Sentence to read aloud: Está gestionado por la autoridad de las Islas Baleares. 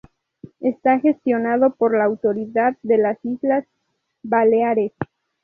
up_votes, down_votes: 2, 2